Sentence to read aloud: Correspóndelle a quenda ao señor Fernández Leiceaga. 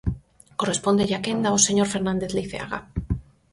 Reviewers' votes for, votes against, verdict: 4, 0, accepted